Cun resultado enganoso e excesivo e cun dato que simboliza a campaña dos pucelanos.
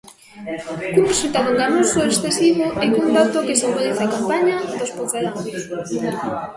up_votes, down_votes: 0, 2